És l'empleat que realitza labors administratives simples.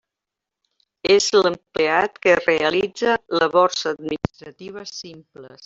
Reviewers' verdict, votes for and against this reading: rejected, 0, 2